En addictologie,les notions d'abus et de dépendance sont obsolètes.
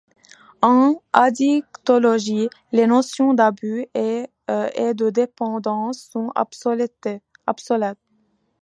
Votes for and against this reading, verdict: 1, 2, rejected